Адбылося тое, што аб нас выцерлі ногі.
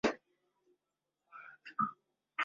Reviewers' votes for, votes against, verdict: 0, 2, rejected